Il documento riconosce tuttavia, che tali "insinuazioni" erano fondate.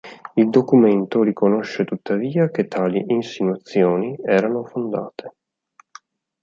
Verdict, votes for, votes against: accepted, 4, 0